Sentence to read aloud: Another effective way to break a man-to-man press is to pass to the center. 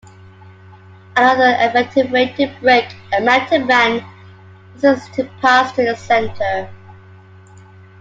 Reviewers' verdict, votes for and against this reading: rejected, 0, 2